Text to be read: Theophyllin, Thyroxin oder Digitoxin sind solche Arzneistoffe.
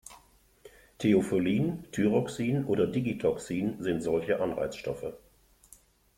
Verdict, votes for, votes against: rejected, 1, 2